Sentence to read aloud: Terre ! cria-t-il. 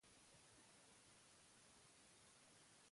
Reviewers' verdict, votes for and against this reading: rejected, 0, 2